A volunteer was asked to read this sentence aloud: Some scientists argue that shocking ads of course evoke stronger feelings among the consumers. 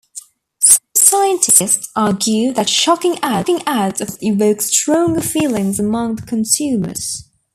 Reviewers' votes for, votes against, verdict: 1, 2, rejected